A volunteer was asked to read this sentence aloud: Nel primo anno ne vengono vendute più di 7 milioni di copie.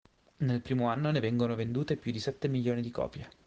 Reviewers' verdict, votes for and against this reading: rejected, 0, 2